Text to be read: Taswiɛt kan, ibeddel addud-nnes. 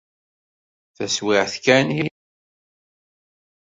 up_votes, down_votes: 0, 2